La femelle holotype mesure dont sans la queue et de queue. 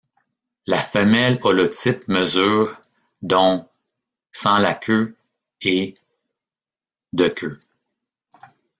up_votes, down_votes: 1, 2